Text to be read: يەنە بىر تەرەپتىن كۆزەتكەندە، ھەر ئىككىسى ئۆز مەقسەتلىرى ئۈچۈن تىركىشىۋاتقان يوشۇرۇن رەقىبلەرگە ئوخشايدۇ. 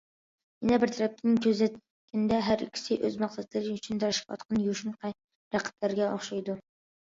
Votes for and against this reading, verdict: 0, 2, rejected